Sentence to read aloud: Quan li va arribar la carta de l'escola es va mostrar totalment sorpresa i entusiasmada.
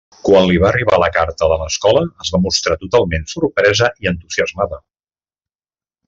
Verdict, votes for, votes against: accepted, 3, 0